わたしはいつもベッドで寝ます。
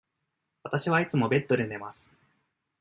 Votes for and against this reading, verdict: 2, 0, accepted